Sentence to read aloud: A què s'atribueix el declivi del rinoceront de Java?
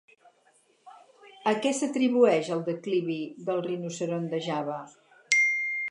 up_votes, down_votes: 4, 0